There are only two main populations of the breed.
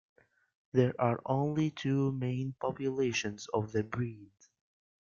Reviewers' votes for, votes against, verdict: 2, 0, accepted